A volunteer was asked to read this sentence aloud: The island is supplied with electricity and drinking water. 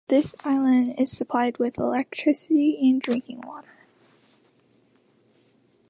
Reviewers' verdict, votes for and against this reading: accepted, 2, 1